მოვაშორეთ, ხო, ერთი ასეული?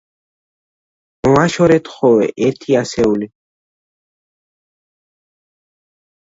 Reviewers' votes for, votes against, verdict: 0, 2, rejected